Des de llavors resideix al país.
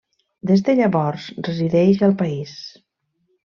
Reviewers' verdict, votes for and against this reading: accepted, 3, 0